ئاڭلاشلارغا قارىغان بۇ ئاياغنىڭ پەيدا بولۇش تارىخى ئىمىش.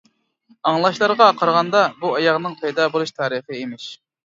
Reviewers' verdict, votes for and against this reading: rejected, 1, 2